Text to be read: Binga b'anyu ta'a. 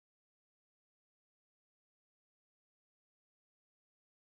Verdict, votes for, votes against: rejected, 0, 2